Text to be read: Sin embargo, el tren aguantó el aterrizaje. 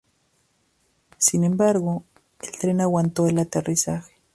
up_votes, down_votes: 2, 0